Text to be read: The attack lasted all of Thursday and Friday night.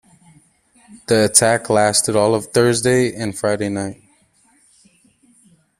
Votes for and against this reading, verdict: 2, 1, accepted